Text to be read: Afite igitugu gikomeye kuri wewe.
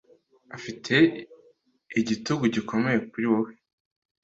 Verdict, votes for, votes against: accepted, 2, 0